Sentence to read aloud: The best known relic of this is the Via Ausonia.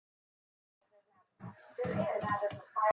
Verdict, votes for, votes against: rejected, 0, 2